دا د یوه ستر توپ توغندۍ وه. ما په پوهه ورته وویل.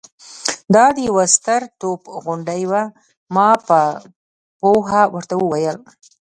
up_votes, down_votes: 1, 2